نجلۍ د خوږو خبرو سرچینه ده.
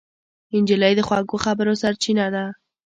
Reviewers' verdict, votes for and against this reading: accepted, 2, 0